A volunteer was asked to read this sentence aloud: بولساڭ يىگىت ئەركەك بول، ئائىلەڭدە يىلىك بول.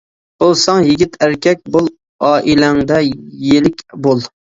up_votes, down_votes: 2, 0